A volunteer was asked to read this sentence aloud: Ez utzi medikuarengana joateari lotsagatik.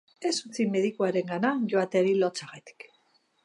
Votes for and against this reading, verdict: 2, 0, accepted